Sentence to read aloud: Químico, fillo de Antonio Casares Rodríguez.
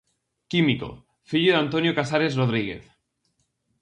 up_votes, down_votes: 4, 0